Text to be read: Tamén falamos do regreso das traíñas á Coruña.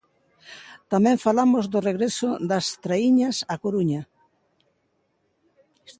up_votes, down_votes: 2, 0